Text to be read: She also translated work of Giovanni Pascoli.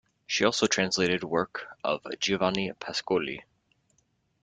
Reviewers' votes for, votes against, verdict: 2, 1, accepted